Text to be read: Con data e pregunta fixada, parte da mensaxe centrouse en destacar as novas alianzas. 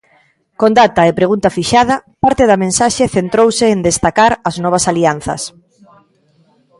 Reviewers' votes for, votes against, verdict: 2, 0, accepted